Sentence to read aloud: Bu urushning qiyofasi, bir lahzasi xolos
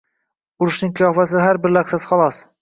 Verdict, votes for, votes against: rejected, 0, 2